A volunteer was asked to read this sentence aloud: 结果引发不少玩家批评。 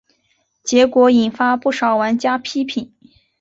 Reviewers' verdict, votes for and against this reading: accepted, 2, 1